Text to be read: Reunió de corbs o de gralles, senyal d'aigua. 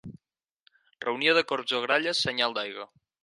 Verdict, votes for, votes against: rejected, 2, 4